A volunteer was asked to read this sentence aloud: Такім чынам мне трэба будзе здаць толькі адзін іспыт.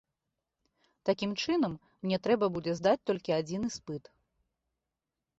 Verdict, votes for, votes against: accepted, 2, 0